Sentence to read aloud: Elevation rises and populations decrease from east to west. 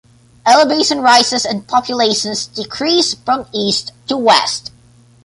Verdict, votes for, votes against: accepted, 2, 0